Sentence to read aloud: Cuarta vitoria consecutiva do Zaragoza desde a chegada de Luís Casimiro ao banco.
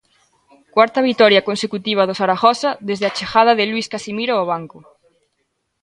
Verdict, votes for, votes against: accepted, 2, 0